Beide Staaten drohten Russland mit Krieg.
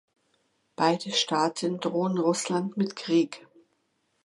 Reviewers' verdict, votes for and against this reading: rejected, 1, 2